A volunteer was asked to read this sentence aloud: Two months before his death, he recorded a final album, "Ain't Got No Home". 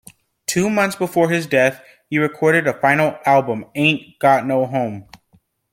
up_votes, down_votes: 2, 0